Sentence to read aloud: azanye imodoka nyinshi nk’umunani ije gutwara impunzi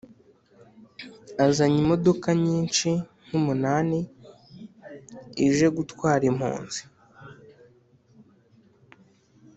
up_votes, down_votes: 2, 0